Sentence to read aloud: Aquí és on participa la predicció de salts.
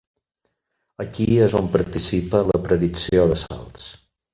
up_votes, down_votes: 0, 6